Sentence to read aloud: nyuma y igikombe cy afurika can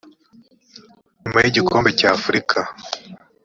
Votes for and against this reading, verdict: 1, 4, rejected